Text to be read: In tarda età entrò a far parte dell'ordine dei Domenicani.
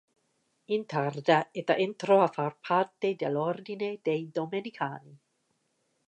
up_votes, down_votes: 2, 0